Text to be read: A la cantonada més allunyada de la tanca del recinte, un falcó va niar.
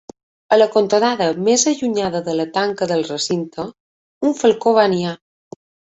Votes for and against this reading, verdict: 2, 0, accepted